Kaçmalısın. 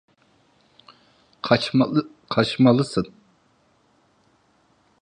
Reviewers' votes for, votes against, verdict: 0, 2, rejected